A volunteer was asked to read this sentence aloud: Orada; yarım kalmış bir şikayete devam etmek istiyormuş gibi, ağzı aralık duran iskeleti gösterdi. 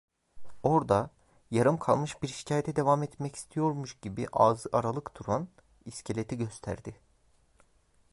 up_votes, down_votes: 0, 2